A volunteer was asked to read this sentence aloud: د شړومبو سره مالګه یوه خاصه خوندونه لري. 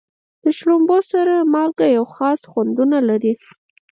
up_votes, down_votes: 4, 0